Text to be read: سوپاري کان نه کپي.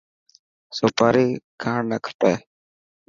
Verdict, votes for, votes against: accepted, 2, 0